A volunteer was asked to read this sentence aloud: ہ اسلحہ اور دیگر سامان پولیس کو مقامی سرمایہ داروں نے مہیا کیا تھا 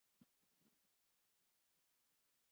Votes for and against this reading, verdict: 0, 5, rejected